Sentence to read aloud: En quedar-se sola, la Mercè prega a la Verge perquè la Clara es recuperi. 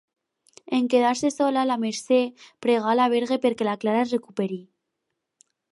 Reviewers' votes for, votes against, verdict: 2, 2, rejected